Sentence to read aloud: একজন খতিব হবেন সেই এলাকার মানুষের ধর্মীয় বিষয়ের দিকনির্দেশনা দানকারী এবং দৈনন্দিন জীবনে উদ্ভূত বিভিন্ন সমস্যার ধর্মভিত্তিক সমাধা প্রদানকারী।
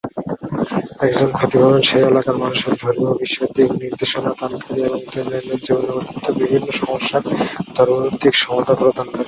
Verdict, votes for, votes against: accepted, 2, 0